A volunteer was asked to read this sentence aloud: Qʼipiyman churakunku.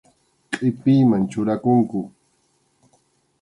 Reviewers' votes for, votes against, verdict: 2, 0, accepted